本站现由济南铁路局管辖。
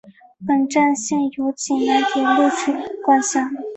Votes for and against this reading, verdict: 1, 2, rejected